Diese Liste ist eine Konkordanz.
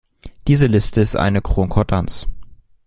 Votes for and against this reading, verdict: 0, 2, rejected